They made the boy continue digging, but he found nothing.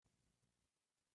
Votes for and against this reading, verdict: 0, 3, rejected